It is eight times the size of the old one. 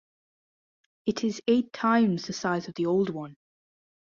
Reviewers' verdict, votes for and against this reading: accepted, 2, 0